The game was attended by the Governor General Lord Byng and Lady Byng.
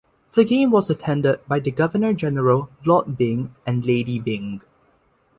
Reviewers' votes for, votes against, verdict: 2, 0, accepted